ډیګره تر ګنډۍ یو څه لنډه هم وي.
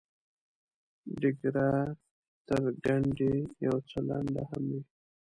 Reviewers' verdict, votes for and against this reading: rejected, 0, 2